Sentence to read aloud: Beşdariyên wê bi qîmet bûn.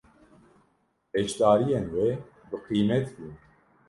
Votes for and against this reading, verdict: 2, 0, accepted